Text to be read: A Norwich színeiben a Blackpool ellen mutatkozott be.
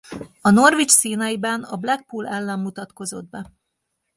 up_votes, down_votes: 2, 0